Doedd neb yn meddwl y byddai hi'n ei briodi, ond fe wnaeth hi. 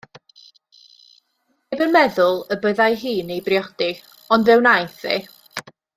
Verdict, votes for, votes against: rejected, 0, 2